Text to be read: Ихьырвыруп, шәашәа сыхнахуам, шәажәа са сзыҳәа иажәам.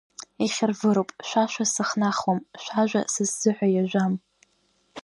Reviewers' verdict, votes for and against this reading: rejected, 1, 2